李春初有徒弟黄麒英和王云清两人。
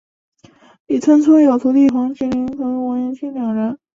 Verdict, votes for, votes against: rejected, 0, 3